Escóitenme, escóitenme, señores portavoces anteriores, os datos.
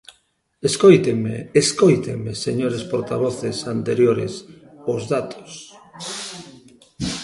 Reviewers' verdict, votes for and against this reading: accepted, 2, 0